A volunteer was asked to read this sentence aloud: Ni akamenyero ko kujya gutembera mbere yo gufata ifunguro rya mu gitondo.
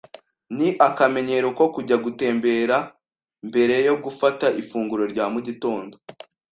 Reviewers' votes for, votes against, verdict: 2, 0, accepted